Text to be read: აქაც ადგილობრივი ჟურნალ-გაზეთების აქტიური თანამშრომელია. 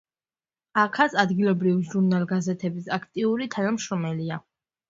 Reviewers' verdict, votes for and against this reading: accepted, 2, 0